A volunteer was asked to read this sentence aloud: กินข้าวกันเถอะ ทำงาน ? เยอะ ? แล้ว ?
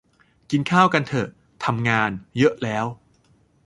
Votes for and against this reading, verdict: 2, 0, accepted